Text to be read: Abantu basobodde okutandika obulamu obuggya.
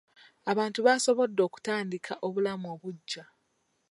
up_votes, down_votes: 1, 2